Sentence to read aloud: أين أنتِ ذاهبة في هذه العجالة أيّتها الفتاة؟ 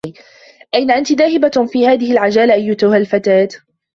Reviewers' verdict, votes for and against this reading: rejected, 0, 2